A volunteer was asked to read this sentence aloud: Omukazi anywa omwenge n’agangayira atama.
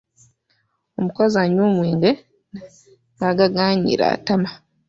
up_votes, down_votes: 0, 2